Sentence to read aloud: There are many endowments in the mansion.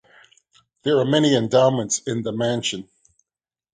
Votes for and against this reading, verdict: 2, 0, accepted